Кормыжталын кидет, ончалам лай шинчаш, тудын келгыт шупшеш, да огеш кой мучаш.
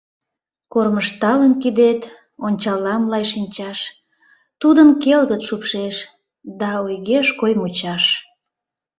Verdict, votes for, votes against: rejected, 0, 2